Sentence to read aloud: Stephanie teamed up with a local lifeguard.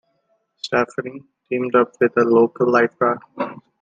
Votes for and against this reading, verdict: 2, 0, accepted